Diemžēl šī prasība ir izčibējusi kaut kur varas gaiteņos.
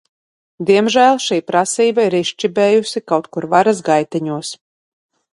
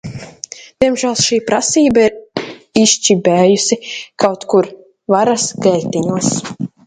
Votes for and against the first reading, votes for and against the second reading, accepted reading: 2, 0, 0, 2, first